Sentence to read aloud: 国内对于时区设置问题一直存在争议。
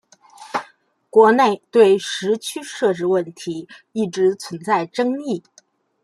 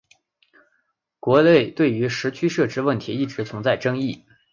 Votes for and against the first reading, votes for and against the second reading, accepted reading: 0, 2, 2, 0, second